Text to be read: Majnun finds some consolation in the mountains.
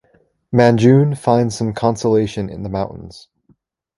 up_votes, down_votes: 1, 2